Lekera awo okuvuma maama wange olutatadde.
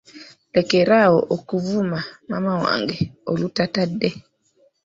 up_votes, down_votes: 2, 1